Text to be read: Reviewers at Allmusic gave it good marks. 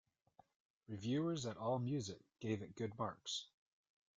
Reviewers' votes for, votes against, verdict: 2, 0, accepted